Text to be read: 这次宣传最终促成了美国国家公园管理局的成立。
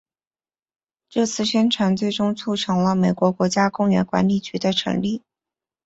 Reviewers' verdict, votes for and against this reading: accepted, 3, 0